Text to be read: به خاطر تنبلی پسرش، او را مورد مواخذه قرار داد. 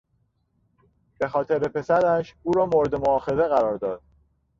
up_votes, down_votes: 0, 2